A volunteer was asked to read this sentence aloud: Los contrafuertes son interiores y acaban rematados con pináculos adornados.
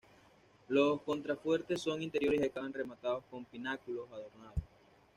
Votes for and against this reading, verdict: 2, 1, accepted